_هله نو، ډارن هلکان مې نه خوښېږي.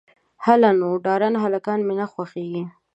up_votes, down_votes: 2, 1